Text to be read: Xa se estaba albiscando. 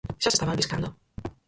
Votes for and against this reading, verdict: 0, 4, rejected